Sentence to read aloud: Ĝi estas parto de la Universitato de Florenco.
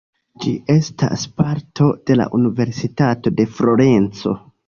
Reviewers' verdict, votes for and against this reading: accepted, 2, 0